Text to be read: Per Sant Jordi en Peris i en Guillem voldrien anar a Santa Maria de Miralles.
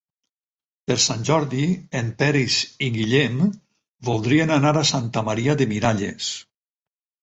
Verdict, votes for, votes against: rejected, 0, 4